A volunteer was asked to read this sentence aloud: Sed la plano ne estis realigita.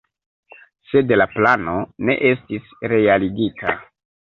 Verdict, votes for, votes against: rejected, 1, 2